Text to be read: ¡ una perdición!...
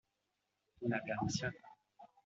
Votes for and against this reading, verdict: 1, 2, rejected